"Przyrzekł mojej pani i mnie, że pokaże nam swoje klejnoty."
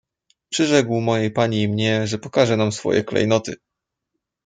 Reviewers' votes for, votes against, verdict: 2, 0, accepted